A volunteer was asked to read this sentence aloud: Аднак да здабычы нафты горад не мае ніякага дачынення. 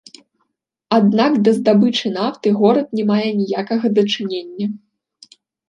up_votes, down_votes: 2, 1